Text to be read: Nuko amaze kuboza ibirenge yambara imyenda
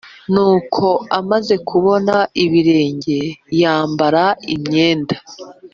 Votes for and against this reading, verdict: 1, 2, rejected